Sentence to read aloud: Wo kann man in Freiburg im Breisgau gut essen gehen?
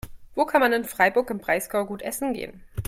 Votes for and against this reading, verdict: 2, 0, accepted